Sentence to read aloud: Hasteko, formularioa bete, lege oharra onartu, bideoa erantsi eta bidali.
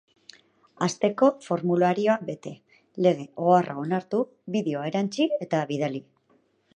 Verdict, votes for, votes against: accepted, 4, 0